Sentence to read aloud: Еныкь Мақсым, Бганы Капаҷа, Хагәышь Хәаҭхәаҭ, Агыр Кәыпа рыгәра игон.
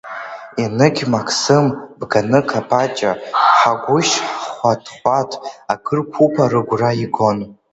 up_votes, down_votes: 1, 2